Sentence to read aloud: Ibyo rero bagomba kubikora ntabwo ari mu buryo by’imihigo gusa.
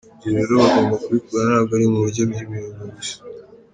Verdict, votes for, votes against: accepted, 2, 0